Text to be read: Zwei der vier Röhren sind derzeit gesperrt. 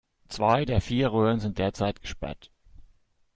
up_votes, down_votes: 2, 0